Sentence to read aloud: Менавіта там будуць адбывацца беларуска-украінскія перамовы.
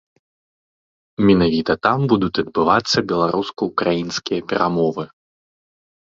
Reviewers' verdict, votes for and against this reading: accepted, 2, 1